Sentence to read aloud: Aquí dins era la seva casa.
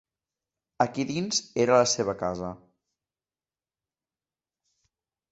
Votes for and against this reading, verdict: 2, 0, accepted